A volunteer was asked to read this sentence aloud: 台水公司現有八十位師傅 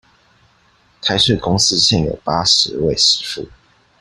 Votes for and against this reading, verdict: 2, 0, accepted